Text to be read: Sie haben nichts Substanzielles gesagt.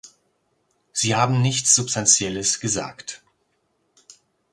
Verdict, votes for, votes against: accepted, 2, 0